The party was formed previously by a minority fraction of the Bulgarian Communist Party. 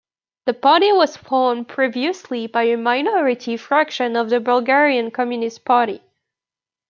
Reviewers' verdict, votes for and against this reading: rejected, 1, 2